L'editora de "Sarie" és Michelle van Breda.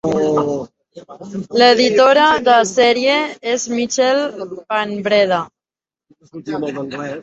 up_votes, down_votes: 0, 2